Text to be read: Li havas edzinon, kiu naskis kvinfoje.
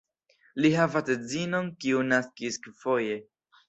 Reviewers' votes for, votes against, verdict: 2, 0, accepted